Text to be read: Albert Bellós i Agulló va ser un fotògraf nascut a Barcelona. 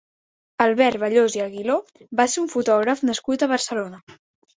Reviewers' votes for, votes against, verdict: 0, 3, rejected